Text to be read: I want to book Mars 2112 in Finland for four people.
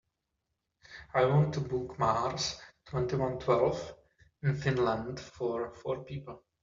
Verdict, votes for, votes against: rejected, 0, 2